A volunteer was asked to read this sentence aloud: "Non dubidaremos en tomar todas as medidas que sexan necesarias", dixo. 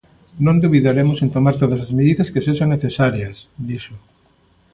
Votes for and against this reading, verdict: 2, 0, accepted